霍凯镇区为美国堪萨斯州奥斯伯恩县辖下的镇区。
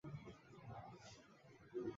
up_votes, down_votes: 1, 2